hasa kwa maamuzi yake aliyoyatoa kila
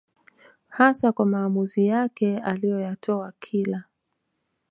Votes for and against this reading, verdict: 2, 0, accepted